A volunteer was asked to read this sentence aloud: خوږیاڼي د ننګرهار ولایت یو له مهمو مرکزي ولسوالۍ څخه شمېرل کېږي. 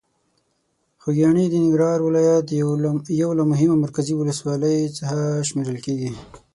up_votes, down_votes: 0, 6